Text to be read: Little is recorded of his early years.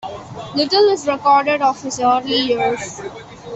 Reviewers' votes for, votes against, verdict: 2, 0, accepted